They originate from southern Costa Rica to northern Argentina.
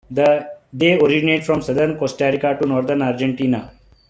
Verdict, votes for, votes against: rejected, 0, 2